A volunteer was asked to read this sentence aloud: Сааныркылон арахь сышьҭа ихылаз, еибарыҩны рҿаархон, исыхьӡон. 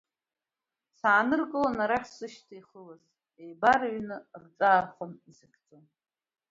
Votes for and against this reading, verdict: 0, 2, rejected